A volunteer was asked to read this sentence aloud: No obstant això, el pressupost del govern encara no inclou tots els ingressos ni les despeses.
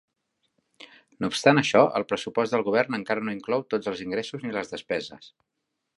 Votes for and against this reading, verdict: 2, 0, accepted